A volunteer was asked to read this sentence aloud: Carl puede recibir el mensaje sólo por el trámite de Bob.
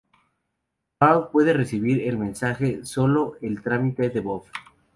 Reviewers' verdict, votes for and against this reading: rejected, 0, 2